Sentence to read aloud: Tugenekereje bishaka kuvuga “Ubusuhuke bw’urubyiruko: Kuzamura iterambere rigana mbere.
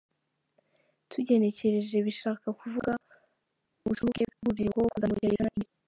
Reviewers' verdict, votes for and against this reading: rejected, 0, 2